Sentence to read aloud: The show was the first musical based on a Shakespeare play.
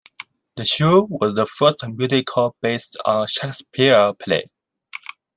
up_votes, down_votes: 2, 1